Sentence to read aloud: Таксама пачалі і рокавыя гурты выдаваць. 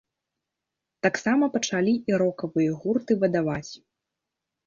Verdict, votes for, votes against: rejected, 1, 2